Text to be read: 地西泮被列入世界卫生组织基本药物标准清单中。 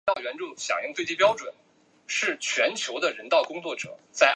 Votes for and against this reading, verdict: 1, 3, rejected